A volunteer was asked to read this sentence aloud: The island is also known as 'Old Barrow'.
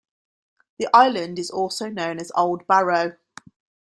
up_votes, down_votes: 2, 0